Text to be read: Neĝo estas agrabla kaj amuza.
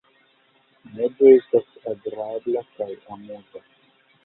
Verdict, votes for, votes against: rejected, 0, 2